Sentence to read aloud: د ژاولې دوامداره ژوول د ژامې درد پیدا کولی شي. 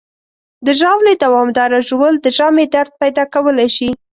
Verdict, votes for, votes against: accepted, 2, 0